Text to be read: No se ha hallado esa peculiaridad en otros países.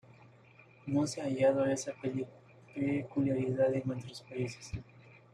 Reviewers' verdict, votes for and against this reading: rejected, 0, 2